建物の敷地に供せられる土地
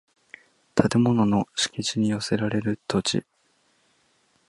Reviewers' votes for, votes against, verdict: 1, 2, rejected